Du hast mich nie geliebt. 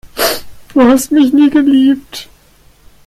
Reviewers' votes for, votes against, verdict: 2, 0, accepted